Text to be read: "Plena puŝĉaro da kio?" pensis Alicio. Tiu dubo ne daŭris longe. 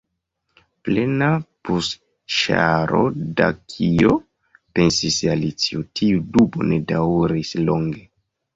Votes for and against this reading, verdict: 1, 2, rejected